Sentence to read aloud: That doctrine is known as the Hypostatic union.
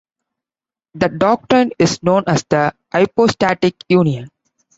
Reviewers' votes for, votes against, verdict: 2, 0, accepted